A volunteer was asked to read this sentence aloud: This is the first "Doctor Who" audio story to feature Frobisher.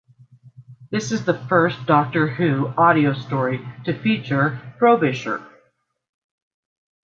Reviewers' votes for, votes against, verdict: 2, 0, accepted